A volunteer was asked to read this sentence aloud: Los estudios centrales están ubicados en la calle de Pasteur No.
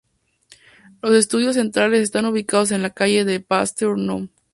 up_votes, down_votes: 6, 0